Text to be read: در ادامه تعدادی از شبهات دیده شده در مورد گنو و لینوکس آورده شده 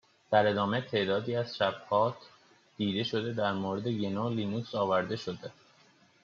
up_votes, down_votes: 0, 2